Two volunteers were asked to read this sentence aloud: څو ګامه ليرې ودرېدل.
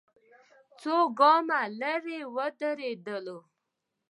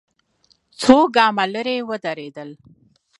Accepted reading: second